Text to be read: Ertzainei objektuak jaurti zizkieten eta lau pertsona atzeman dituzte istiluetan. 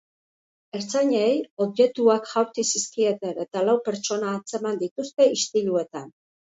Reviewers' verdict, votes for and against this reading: accepted, 2, 0